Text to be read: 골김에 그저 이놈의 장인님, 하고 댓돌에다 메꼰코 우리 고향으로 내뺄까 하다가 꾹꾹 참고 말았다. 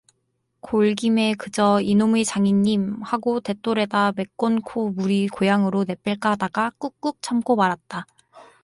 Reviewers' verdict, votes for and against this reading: accepted, 4, 0